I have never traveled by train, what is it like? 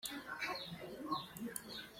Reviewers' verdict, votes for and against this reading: rejected, 0, 2